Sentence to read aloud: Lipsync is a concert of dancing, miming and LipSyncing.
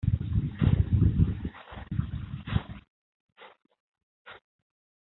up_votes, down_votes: 0, 2